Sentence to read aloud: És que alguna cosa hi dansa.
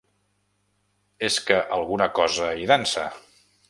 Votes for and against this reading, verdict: 3, 0, accepted